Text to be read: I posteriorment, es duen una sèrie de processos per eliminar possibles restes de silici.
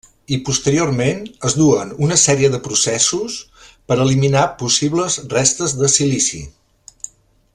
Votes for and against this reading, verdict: 3, 0, accepted